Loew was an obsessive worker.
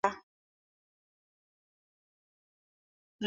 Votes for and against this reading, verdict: 0, 4, rejected